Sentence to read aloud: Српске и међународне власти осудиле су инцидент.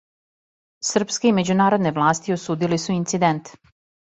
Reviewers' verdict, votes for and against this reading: rejected, 1, 2